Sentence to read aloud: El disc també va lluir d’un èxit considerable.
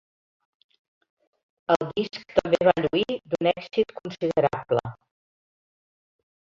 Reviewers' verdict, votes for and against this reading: accepted, 3, 1